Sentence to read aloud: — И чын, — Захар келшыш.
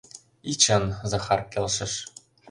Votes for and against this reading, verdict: 2, 0, accepted